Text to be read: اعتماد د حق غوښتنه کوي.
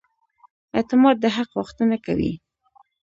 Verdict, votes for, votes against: rejected, 1, 2